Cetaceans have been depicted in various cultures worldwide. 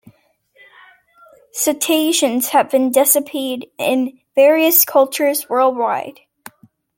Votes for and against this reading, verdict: 0, 2, rejected